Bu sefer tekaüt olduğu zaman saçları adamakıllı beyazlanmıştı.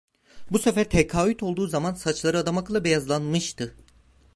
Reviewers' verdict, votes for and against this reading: rejected, 1, 2